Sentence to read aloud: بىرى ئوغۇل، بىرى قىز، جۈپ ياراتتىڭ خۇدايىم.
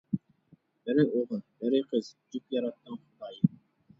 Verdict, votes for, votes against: rejected, 1, 2